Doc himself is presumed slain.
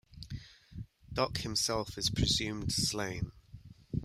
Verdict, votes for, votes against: rejected, 1, 2